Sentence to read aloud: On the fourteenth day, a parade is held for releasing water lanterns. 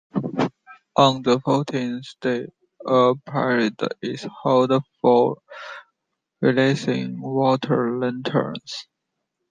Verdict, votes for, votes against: accepted, 2, 0